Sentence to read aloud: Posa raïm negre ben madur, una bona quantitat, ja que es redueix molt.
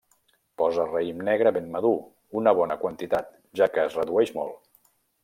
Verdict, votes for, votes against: accepted, 3, 0